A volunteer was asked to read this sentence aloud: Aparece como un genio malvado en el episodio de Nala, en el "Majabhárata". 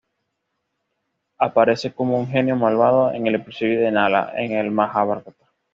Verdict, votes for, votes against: accepted, 2, 0